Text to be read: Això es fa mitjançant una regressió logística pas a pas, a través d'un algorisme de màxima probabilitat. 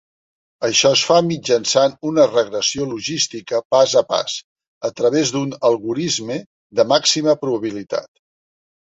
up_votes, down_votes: 4, 0